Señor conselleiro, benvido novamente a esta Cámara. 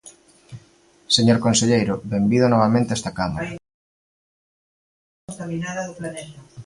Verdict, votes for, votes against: rejected, 1, 2